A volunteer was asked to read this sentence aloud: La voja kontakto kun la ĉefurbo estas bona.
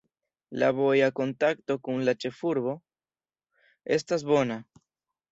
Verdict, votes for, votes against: rejected, 1, 2